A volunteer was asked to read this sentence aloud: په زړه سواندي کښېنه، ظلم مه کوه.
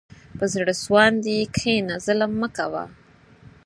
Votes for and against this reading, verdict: 6, 0, accepted